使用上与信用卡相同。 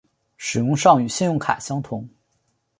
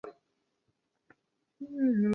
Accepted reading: first